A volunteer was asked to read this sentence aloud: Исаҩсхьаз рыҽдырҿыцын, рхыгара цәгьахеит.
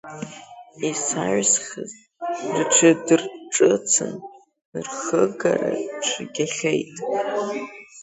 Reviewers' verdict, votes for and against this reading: rejected, 0, 2